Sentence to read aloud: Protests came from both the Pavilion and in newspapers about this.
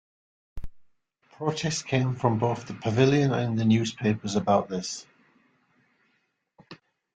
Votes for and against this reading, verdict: 2, 0, accepted